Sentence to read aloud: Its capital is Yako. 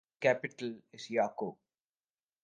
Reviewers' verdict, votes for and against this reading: accepted, 2, 1